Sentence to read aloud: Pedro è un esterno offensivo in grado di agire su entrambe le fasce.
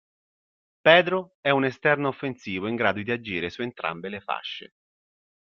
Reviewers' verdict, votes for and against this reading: accepted, 2, 0